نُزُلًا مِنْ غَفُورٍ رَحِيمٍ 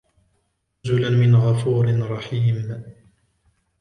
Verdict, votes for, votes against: rejected, 1, 2